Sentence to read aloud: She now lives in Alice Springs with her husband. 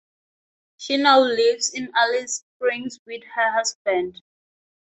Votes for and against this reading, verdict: 2, 0, accepted